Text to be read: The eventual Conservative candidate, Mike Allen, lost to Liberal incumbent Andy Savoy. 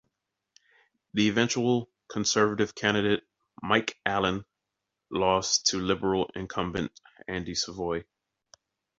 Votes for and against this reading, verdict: 2, 0, accepted